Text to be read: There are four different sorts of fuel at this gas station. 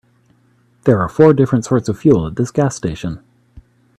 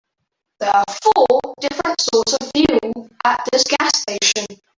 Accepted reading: first